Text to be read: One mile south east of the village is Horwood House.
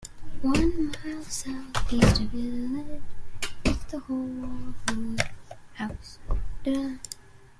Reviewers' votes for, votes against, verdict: 0, 2, rejected